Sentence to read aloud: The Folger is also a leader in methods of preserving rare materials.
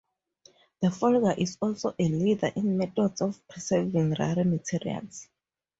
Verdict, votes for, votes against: rejected, 0, 2